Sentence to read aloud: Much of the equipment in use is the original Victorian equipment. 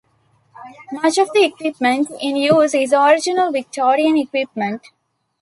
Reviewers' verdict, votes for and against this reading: accepted, 2, 1